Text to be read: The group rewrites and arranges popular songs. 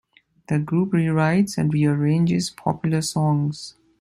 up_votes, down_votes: 0, 2